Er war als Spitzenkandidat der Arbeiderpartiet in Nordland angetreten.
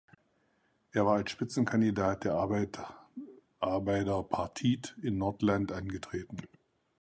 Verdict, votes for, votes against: rejected, 0, 4